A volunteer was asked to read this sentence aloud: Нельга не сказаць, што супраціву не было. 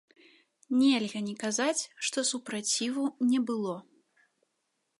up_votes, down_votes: 0, 2